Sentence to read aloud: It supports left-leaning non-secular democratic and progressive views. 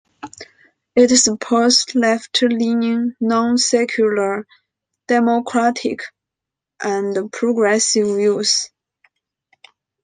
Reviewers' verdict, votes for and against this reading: accepted, 2, 0